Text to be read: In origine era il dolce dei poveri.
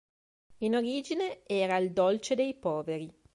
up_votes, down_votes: 3, 0